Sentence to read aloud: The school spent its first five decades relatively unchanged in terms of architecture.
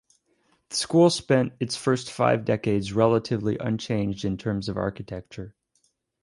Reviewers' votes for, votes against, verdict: 0, 2, rejected